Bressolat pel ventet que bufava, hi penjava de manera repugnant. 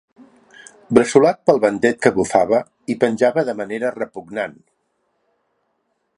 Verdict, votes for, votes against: accepted, 2, 0